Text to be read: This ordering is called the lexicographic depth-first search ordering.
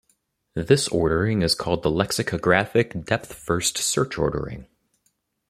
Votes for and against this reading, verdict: 2, 0, accepted